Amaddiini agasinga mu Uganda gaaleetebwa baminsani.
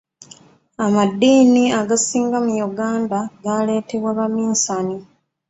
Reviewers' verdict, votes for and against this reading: accepted, 2, 1